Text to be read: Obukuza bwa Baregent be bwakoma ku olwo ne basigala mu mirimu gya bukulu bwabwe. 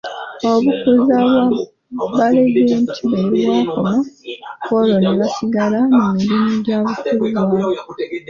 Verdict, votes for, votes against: rejected, 0, 2